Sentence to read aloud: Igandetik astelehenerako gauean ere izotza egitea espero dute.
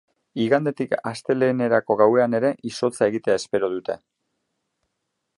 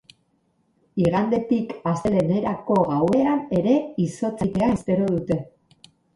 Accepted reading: first